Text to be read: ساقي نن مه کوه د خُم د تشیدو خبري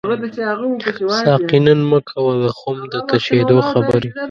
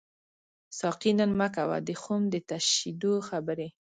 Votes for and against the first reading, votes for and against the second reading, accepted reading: 1, 2, 2, 0, second